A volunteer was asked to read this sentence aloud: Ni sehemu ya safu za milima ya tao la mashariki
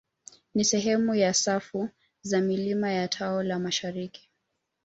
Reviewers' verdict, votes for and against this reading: accepted, 2, 0